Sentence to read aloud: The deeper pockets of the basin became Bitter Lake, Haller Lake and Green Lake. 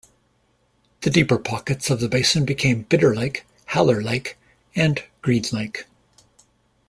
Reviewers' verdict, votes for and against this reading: rejected, 0, 2